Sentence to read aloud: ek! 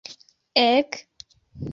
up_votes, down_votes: 0, 2